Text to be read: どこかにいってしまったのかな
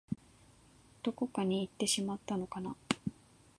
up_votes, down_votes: 2, 0